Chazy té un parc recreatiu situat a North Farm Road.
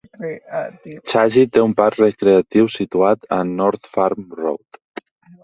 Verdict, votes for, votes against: accepted, 4, 0